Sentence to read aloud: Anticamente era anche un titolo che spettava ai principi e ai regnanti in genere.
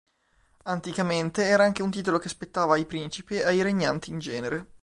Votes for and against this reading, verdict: 2, 0, accepted